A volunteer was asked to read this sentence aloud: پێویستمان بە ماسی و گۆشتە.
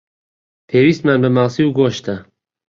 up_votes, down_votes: 2, 0